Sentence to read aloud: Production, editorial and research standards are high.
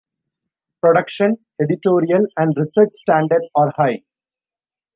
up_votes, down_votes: 2, 0